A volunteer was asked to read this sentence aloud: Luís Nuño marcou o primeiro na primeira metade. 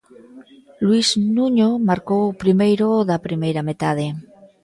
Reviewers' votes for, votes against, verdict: 0, 2, rejected